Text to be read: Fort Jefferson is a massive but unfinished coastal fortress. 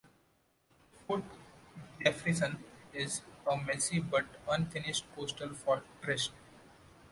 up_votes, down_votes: 2, 1